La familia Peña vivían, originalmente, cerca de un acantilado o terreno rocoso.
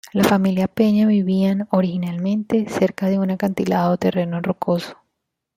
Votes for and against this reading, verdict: 2, 1, accepted